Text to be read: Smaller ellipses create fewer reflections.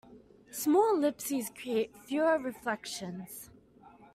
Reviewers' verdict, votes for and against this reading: accepted, 2, 1